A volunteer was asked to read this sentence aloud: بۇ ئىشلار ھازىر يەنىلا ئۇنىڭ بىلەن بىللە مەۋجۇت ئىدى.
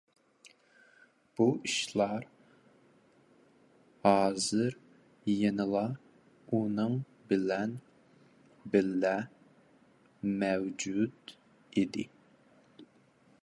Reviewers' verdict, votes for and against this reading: rejected, 1, 2